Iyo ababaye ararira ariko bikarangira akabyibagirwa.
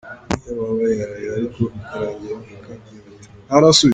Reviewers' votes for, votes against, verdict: 1, 2, rejected